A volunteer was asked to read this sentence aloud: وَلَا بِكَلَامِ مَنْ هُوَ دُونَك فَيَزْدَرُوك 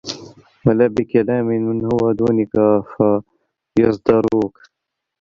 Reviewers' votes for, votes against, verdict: 1, 2, rejected